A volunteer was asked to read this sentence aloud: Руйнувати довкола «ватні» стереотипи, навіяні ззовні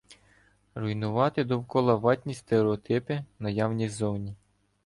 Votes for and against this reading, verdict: 1, 2, rejected